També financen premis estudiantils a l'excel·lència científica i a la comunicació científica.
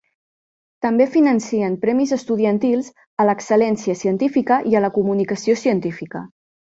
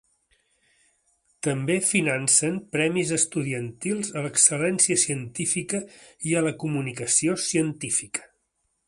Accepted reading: second